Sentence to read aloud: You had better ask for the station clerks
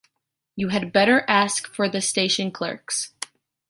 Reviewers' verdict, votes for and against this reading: accepted, 2, 0